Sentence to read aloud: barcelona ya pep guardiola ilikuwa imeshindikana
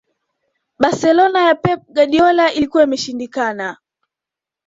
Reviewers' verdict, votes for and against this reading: accepted, 2, 0